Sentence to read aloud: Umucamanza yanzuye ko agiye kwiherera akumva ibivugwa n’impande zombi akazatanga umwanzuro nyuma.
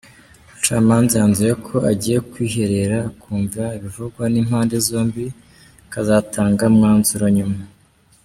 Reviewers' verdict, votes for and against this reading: accepted, 2, 0